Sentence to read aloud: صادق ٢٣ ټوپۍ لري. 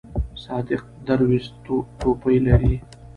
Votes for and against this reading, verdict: 0, 2, rejected